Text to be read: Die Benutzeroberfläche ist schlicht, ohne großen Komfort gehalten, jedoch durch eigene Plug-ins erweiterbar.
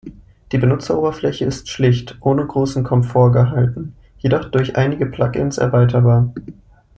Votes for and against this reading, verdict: 1, 2, rejected